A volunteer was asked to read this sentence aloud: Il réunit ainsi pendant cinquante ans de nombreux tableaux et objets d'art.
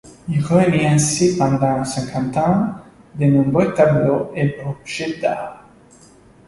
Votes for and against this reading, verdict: 2, 1, accepted